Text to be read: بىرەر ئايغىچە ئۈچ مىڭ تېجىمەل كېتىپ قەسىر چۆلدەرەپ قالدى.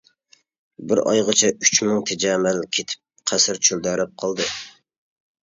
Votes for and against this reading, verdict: 0, 2, rejected